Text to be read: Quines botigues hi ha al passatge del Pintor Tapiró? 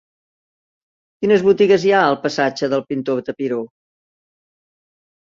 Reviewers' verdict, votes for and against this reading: accepted, 2, 1